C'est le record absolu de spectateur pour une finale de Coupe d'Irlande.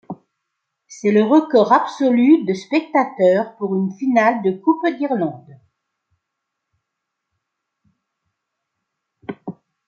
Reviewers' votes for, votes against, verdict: 2, 1, accepted